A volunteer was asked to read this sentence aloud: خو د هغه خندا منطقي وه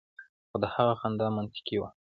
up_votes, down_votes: 2, 0